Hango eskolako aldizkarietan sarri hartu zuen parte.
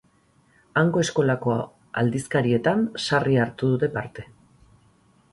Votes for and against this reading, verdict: 0, 2, rejected